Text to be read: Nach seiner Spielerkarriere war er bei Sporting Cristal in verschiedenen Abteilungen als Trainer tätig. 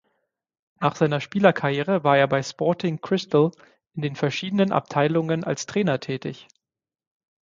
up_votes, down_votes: 3, 6